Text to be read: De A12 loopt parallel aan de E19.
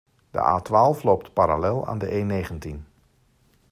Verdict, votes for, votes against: rejected, 0, 2